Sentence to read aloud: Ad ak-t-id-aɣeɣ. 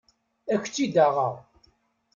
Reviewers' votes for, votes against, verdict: 1, 2, rejected